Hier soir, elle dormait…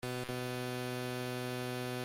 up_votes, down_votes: 0, 2